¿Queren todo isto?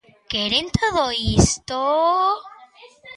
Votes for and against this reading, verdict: 2, 1, accepted